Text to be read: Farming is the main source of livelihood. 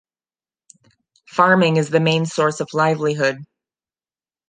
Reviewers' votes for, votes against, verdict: 2, 0, accepted